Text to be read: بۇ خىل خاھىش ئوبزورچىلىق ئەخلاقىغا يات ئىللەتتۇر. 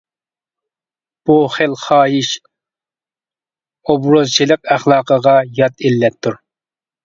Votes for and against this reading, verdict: 0, 2, rejected